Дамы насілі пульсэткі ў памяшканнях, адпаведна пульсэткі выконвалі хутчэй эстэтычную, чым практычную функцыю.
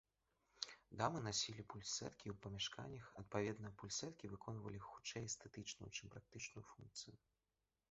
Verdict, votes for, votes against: rejected, 1, 2